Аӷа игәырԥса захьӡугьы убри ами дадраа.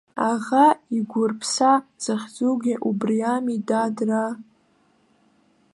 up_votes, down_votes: 2, 0